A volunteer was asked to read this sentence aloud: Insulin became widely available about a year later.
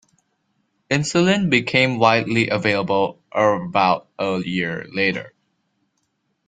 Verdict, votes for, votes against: rejected, 1, 2